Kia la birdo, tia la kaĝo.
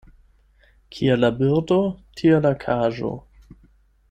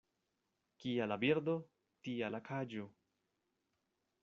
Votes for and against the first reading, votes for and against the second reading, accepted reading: 4, 8, 2, 0, second